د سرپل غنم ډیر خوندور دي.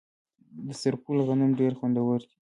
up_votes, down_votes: 2, 0